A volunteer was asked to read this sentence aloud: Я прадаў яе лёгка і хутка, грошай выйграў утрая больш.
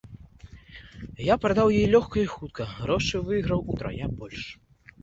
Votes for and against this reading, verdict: 2, 0, accepted